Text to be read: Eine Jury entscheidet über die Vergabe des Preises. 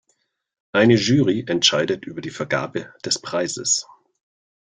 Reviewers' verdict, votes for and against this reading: accepted, 2, 0